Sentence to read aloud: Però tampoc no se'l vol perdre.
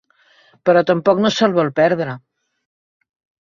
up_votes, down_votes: 5, 0